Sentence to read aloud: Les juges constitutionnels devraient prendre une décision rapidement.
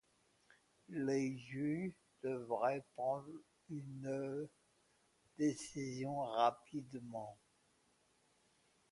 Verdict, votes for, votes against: rejected, 0, 2